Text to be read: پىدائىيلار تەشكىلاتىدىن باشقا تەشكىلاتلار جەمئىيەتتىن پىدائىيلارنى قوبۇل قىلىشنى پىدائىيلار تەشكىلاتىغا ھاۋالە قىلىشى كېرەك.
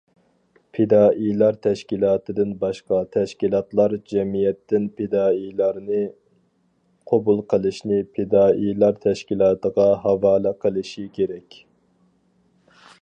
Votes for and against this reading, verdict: 4, 0, accepted